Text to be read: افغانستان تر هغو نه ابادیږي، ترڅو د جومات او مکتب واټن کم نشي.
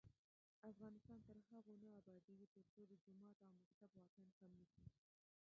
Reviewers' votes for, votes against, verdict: 1, 2, rejected